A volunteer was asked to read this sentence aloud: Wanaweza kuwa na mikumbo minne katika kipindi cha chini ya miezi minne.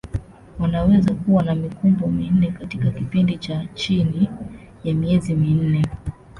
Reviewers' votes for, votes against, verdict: 1, 2, rejected